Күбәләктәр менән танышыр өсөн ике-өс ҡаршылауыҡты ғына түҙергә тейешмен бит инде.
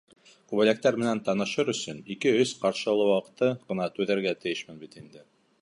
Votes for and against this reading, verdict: 0, 2, rejected